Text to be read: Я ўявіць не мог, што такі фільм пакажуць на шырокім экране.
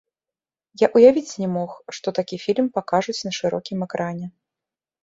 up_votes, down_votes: 2, 0